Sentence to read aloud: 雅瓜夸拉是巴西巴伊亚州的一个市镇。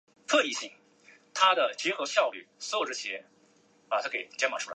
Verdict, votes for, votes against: rejected, 0, 2